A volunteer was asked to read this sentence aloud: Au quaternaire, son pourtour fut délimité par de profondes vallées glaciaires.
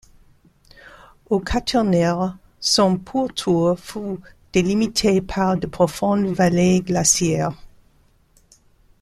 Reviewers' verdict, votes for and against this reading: rejected, 1, 2